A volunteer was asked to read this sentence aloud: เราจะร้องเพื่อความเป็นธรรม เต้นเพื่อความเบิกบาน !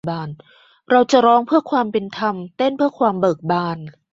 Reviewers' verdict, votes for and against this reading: rejected, 1, 2